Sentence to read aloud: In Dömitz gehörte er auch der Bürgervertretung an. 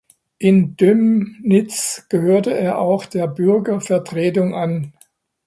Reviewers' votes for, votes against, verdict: 0, 2, rejected